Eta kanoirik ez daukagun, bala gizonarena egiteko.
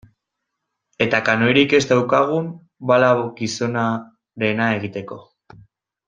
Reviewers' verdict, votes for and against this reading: rejected, 0, 2